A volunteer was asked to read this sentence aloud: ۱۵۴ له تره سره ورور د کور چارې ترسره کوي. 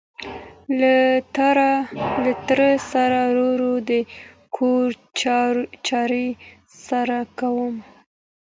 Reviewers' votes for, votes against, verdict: 0, 2, rejected